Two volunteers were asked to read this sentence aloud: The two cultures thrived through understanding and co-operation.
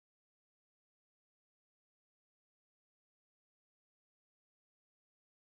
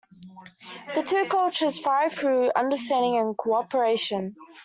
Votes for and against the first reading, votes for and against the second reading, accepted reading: 0, 2, 2, 0, second